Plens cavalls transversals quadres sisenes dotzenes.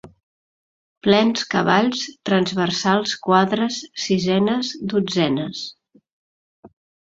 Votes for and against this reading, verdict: 2, 0, accepted